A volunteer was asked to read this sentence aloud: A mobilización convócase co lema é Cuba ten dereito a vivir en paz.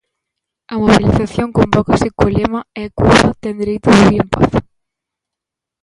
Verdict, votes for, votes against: rejected, 1, 2